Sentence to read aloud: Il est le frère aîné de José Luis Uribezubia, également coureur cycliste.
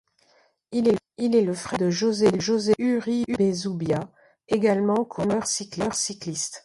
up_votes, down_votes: 0, 2